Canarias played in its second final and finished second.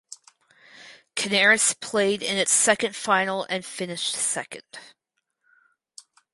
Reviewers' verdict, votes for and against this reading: rejected, 0, 2